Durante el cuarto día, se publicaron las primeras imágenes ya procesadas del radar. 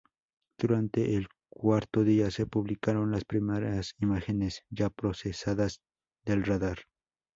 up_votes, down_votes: 0, 2